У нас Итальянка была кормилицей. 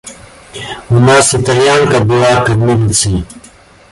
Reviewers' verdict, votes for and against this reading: accepted, 2, 0